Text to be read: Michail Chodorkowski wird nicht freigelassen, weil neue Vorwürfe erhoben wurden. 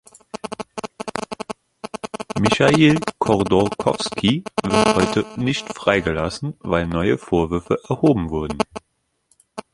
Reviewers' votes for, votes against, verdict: 0, 2, rejected